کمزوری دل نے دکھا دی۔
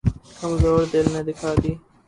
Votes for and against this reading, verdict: 0, 2, rejected